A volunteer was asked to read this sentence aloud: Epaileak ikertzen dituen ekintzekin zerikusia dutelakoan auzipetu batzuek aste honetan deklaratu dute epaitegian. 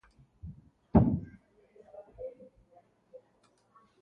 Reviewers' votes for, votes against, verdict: 0, 2, rejected